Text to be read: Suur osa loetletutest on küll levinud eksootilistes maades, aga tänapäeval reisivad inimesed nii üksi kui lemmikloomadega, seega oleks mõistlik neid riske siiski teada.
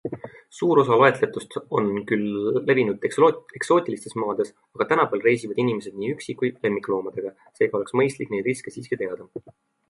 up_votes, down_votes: 2, 0